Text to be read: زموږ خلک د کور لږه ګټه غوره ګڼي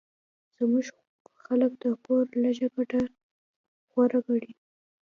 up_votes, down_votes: 2, 0